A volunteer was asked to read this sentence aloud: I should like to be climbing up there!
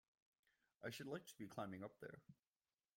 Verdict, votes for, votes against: rejected, 1, 2